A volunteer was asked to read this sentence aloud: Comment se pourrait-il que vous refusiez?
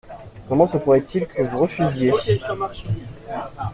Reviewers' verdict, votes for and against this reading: accepted, 2, 0